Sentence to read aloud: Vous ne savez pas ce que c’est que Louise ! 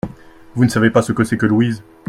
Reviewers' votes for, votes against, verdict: 2, 0, accepted